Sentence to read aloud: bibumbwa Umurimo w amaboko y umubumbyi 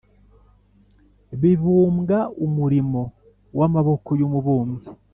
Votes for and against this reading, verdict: 5, 0, accepted